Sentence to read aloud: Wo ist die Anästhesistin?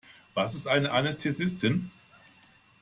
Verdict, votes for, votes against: rejected, 0, 2